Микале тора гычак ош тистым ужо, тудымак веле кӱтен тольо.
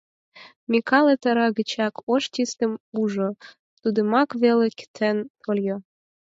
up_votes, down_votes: 4, 2